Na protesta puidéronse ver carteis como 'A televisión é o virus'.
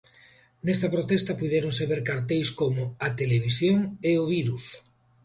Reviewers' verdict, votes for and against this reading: rejected, 1, 2